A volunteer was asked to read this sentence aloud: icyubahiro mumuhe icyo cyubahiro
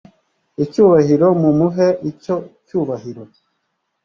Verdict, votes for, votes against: accepted, 2, 0